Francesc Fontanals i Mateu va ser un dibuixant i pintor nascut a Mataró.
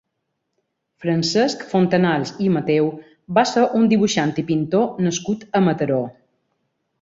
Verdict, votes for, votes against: accepted, 4, 0